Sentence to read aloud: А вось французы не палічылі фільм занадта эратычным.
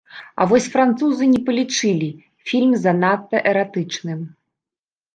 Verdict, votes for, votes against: accepted, 2, 0